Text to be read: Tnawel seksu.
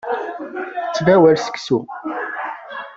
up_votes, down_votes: 1, 2